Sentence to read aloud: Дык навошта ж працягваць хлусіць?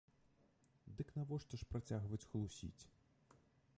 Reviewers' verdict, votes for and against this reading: accepted, 2, 0